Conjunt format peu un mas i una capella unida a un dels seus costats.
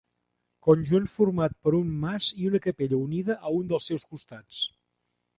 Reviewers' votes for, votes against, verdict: 1, 2, rejected